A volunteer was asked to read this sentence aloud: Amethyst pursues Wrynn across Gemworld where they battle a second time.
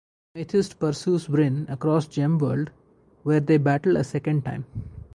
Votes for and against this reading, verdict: 0, 2, rejected